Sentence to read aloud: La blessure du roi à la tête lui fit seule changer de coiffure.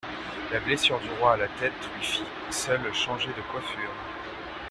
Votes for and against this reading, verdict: 2, 0, accepted